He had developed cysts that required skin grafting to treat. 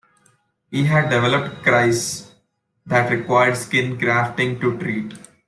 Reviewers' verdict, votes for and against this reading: rejected, 0, 2